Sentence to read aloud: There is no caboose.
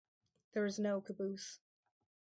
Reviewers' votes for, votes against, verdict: 2, 4, rejected